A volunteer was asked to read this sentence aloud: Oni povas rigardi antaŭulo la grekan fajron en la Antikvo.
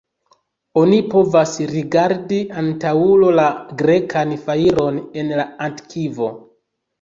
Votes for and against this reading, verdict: 1, 2, rejected